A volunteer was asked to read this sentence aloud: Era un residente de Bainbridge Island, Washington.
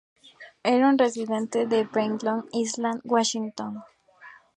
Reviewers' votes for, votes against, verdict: 0, 2, rejected